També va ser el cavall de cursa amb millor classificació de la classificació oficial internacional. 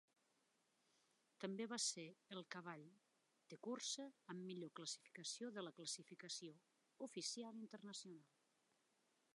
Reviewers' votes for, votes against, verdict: 0, 2, rejected